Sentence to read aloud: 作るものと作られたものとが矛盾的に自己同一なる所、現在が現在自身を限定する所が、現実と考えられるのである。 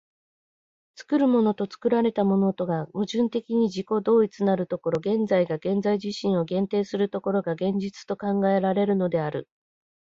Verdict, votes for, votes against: accepted, 2, 0